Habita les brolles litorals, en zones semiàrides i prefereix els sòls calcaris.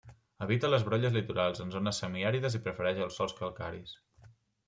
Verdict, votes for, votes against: accepted, 2, 0